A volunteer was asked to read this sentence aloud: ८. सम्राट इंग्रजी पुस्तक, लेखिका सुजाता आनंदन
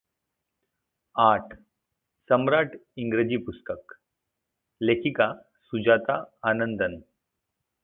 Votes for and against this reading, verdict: 0, 2, rejected